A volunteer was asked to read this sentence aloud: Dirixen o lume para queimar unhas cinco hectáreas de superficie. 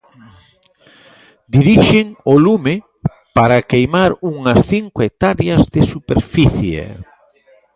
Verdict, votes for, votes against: rejected, 1, 2